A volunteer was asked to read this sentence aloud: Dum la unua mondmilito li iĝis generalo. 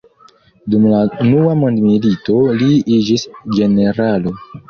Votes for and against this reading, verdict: 1, 2, rejected